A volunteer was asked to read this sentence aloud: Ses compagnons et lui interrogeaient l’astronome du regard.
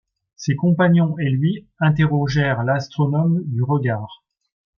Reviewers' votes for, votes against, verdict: 1, 2, rejected